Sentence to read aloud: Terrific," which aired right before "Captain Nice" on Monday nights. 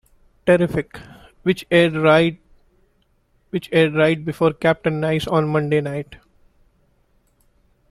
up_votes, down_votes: 1, 2